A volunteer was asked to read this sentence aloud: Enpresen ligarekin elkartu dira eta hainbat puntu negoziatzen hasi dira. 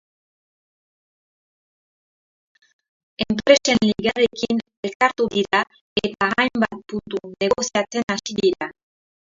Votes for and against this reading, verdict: 0, 4, rejected